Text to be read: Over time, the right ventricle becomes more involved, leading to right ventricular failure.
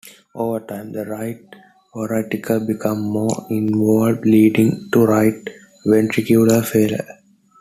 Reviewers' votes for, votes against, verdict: 2, 1, accepted